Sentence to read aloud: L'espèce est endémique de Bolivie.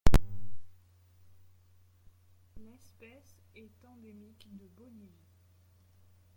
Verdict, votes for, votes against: rejected, 1, 2